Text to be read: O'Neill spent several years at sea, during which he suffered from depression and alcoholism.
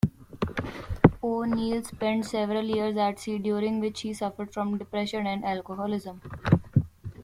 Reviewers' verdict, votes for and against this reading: rejected, 0, 2